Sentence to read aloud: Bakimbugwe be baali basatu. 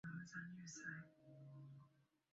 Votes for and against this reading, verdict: 0, 2, rejected